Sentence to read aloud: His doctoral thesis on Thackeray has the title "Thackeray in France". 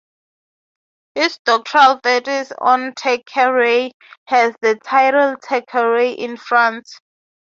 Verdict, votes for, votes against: accepted, 3, 0